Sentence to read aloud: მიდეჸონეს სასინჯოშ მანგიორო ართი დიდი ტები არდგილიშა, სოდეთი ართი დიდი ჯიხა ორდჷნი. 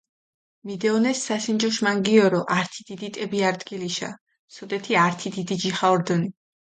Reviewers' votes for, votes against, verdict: 2, 0, accepted